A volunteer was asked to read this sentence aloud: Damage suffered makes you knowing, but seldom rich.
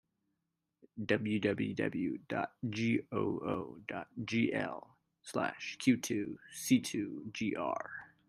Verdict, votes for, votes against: rejected, 0, 2